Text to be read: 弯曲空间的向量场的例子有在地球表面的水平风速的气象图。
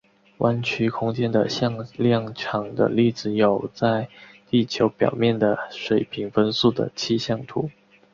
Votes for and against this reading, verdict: 2, 0, accepted